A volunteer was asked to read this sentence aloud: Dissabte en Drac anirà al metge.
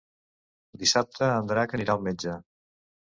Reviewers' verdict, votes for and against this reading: accepted, 2, 0